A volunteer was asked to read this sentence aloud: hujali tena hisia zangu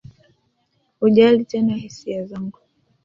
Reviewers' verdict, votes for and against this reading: accepted, 2, 1